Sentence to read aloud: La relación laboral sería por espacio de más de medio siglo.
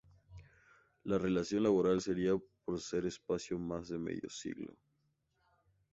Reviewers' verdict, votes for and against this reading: rejected, 2, 2